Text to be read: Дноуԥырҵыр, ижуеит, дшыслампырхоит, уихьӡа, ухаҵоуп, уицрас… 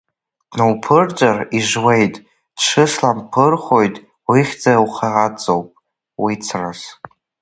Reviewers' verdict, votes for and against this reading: rejected, 1, 2